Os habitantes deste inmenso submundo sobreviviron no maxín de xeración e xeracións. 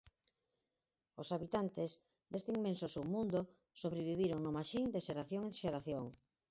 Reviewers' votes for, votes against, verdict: 0, 4, rejected